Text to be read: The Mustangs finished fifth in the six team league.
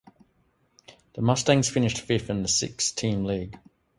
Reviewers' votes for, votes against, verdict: 2, 0, accepted